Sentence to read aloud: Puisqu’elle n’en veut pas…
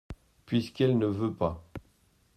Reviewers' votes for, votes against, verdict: 0, 2, rejected